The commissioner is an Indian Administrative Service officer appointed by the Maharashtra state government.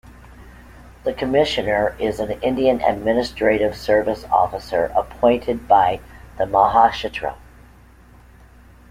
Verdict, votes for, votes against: rejected, 1, 3